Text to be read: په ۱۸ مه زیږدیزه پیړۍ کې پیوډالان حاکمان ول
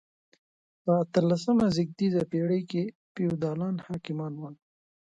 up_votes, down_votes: 0, 2